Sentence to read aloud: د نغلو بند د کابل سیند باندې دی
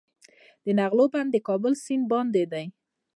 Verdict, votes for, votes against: rejected, 0, 2